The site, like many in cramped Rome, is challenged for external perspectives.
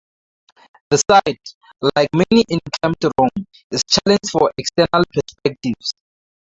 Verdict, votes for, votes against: rejected, 0, 4